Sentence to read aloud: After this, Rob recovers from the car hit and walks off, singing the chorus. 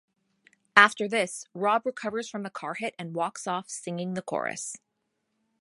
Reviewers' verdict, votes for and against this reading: rejected, 1, 2